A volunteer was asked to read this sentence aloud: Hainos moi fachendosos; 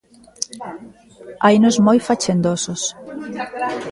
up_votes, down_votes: 0, 2